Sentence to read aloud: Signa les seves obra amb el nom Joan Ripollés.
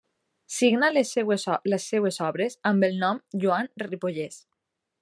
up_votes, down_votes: 0, 2